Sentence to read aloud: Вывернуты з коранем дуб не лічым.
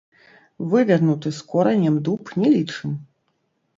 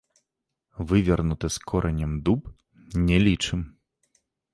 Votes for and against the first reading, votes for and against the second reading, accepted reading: 0, 2, 2, 0, second